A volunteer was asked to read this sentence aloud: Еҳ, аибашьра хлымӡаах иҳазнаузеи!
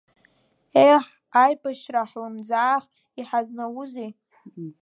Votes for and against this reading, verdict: 0, 2, rejected